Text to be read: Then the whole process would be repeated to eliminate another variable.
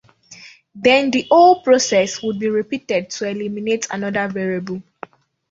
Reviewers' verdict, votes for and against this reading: accepted, 2, 1